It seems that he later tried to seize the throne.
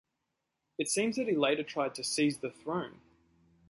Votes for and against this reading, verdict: 2, 0, accepted